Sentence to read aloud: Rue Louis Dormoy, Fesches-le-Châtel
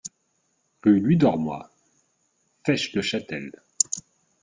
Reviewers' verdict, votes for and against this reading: accepted, 2, 0